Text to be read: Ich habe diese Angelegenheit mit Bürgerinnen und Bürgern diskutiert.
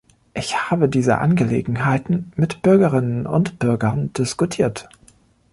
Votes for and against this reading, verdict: 1, 2, rejected